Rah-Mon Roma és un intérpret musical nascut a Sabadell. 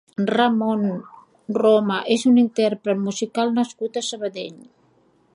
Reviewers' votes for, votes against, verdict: 2, 0, accepted